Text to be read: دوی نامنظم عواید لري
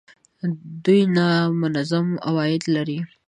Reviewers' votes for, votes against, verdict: 2, 0, accepted